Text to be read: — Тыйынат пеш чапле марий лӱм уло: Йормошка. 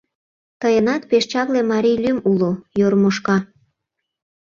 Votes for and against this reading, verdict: 2, 0, accepted